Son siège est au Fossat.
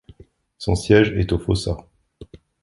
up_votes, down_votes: 2, 0